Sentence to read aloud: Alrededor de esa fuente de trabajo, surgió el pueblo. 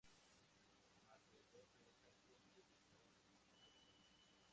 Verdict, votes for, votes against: rejected, 0, 2